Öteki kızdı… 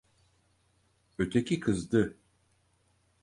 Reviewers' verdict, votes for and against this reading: accepted, 4, 0